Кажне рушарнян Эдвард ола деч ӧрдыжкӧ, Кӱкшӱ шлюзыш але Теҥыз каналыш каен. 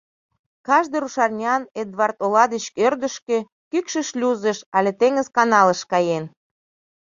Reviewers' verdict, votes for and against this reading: accepted, 2, 0